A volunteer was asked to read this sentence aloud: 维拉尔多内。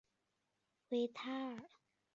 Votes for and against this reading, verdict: 0, 2, rejected